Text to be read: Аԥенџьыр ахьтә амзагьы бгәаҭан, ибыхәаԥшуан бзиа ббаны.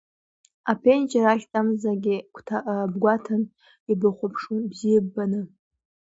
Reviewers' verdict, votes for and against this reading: rejected, 0, 2